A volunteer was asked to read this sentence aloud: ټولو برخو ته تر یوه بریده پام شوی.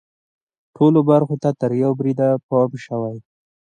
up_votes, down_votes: 2, 0